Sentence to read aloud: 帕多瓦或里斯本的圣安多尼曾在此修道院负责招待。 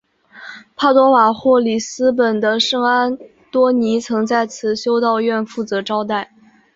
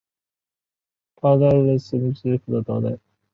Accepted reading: first